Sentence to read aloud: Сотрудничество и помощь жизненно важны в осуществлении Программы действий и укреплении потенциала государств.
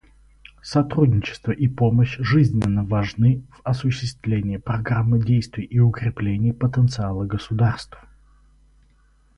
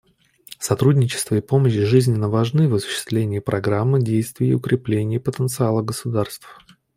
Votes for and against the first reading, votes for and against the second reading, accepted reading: 2, 2, 2, 0, second